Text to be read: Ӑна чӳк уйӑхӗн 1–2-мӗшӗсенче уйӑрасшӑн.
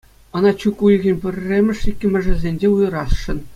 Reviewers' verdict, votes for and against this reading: rejected, 0, 2